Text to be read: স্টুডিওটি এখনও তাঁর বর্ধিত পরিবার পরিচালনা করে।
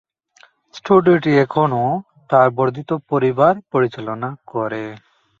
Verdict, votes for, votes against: accepted, 6, 4